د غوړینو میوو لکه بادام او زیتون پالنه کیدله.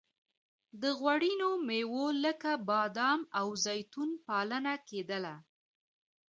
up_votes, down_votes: 2, 0